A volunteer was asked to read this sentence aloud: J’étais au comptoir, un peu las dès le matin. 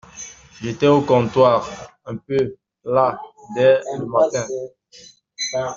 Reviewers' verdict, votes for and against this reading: accepted, 2, 0